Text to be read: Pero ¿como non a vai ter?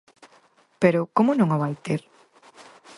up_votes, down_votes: 4, 0